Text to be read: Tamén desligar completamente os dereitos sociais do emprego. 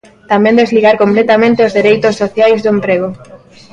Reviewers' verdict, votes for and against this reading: accepted, 3, 0